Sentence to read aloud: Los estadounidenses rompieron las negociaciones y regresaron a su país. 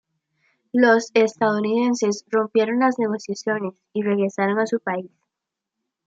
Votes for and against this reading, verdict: 2, 0, accepted